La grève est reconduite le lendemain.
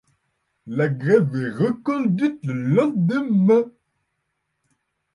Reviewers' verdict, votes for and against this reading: rejected, 0, 2